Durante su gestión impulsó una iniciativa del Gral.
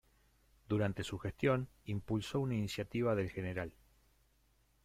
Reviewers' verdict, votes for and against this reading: rejected, 1, 2